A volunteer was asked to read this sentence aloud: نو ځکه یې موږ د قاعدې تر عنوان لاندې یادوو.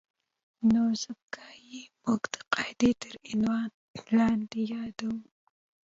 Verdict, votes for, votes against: rejected, 1, 2